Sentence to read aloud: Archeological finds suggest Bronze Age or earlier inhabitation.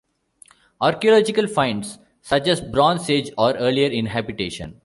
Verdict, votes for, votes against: accepted, 2, 0